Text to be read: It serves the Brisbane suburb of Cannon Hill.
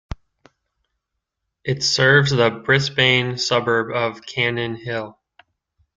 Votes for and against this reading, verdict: 2, 1, accepted